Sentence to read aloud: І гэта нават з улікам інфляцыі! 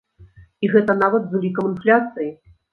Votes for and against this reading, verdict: 2, 0, accepted